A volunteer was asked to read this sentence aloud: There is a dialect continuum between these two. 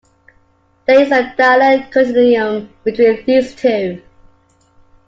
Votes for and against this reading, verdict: 2, 0, accepted